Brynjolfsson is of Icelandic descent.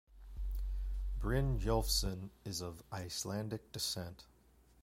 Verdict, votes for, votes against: accepted, 2, 0